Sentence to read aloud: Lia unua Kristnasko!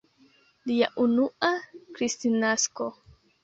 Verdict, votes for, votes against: rejected, 1, 2